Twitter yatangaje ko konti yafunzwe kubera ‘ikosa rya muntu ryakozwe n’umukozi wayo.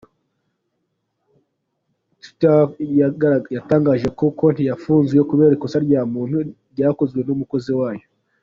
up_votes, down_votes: 2, 1